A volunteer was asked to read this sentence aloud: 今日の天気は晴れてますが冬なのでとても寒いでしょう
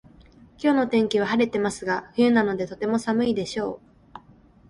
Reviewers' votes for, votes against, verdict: 3, 0, accepted